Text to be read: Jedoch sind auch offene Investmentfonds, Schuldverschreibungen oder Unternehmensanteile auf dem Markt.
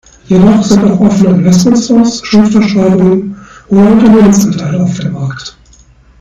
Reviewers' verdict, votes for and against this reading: rejected, 1, 2